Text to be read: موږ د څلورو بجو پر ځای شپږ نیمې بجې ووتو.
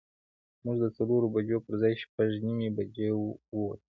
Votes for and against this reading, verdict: 2, 1, accepted